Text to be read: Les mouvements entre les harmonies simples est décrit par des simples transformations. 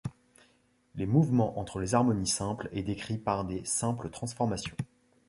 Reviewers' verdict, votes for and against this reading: accepted, 2, 0